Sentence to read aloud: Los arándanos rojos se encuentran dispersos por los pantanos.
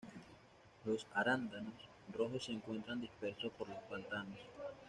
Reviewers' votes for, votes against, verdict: 2, 0, accepted